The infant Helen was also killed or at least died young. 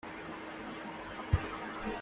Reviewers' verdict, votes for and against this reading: rejected, 0, 2